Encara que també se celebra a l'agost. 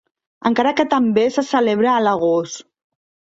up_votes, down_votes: 2, 0